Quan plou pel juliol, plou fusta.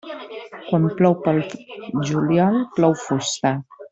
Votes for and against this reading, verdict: 0, 2, rejected